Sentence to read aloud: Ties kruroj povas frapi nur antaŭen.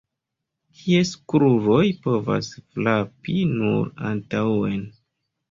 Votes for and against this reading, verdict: 1, 2, rejected